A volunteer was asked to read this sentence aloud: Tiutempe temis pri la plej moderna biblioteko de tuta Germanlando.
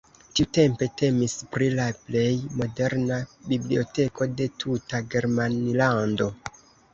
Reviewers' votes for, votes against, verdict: 2, 0, accepted